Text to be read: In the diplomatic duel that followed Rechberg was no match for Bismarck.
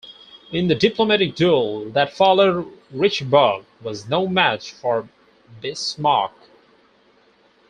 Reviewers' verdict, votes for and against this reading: rejected, 2, 4